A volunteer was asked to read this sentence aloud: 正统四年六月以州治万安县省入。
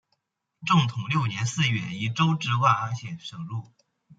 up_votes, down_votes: 0, 2